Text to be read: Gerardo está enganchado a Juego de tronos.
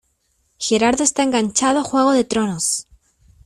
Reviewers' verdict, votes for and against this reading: accepted, 2, 0